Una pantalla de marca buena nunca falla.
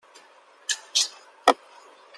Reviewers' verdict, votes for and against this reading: rejected, 0, 2